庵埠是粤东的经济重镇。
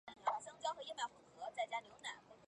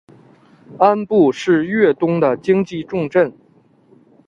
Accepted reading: second